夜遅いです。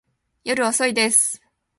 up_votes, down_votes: 2, 0